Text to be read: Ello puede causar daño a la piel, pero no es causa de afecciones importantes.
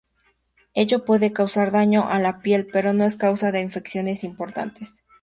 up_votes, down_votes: 0, 2